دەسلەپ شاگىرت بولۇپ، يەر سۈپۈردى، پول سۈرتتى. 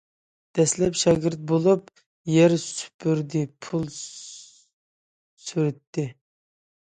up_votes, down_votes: 2, 1